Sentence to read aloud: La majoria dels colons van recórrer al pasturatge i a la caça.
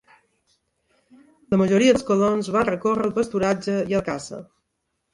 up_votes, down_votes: 0, 2